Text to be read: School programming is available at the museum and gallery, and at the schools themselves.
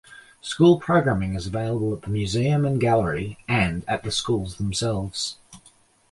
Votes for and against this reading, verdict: 1, 2, rejected